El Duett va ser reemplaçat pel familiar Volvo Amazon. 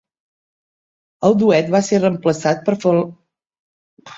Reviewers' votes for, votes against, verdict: 1, 2, rejected